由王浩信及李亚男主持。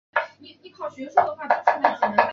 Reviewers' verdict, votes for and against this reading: rejected, 0, 3